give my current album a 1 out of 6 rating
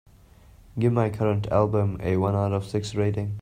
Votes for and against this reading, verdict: 0, 2, rejected